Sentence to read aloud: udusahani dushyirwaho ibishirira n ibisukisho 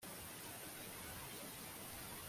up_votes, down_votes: 0, 2